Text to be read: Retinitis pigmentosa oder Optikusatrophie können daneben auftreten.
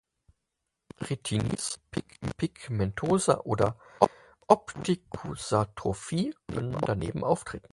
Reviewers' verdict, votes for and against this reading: rejected, 0, 4